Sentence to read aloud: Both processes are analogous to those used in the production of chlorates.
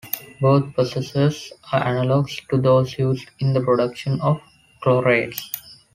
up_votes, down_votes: 1, 2